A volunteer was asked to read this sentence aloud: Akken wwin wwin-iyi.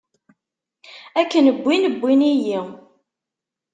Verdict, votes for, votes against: accepted, 2, 0